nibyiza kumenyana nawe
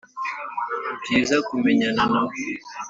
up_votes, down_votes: 2, 0